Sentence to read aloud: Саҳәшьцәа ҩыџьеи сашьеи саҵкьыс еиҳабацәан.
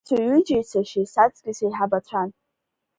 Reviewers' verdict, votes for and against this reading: rejected, 1, 2